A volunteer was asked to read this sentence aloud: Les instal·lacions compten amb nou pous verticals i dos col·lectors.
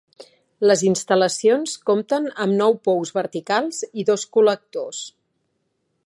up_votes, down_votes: 5, 0